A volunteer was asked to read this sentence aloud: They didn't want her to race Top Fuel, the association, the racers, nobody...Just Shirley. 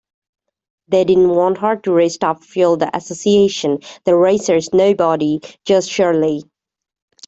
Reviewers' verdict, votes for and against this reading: accepted, 2, 0